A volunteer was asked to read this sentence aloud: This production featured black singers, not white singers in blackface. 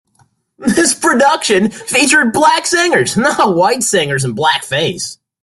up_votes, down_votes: 2, 0